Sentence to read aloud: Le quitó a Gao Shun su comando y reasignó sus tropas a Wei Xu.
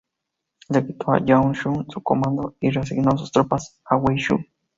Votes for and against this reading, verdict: 2, 2, rejected